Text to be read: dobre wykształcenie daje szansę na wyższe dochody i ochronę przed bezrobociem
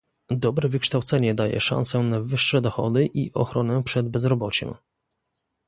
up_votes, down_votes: 2, 0